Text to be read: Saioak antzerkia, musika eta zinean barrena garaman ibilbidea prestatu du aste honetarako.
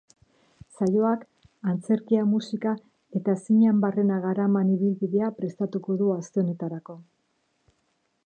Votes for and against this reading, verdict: 0, 2, rejected